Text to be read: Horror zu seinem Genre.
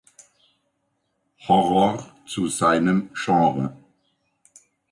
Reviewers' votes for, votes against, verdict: 2, 0, accepted